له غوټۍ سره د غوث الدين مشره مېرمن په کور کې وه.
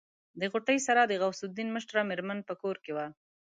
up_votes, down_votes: 9, 0